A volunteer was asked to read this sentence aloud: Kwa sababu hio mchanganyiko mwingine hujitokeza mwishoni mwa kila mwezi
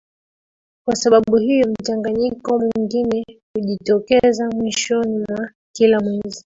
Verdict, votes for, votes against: accepted, 2, 1